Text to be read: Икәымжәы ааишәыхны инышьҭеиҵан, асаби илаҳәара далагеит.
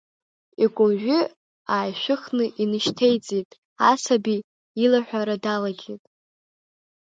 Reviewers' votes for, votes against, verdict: 1, 2, rejected